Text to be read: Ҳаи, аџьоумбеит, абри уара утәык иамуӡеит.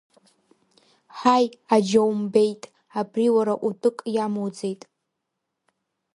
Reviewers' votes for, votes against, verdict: 1, 2, rejected